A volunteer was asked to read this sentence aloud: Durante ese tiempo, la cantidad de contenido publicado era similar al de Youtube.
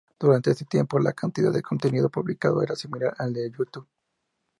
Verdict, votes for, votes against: accepted, 4, 0